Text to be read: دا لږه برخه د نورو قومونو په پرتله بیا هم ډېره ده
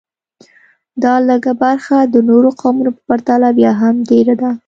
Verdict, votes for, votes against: accepted, 2, 0